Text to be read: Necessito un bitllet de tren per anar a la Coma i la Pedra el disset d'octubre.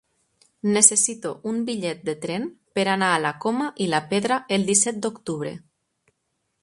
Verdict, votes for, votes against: accepted, 4, 0